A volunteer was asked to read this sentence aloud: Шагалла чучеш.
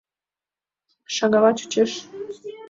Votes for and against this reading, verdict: 2, 1, accepted